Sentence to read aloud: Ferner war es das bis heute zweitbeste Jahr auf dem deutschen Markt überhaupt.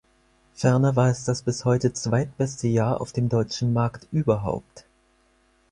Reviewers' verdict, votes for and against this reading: accepted, 4, 0